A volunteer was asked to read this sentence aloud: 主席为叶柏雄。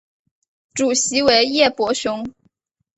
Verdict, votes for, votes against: accepted, 3, 0